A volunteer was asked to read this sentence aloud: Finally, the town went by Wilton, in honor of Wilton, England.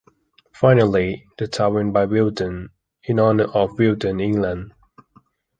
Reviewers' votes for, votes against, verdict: 2, 1, accepted